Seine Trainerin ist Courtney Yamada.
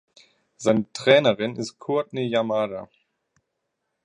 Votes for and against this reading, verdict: 1, 2, rejected